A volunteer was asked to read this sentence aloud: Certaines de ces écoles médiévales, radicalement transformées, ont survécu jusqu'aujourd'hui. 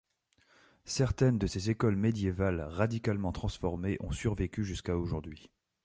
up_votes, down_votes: 2, 0